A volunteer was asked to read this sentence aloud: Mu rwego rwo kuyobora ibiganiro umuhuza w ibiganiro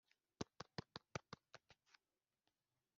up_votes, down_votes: 0, 2